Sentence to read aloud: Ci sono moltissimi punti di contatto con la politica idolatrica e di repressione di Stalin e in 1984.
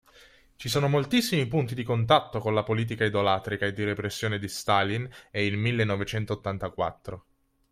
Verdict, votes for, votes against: rejected, 0, 2